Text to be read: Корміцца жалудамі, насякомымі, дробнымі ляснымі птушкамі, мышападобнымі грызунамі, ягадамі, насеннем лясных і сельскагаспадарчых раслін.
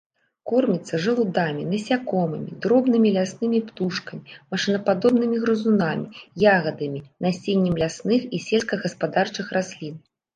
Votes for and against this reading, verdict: 1, 2, rejected